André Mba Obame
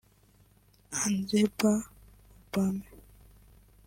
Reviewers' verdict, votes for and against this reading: rejected, 0, 2